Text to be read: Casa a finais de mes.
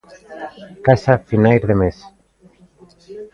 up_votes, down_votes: 2, 0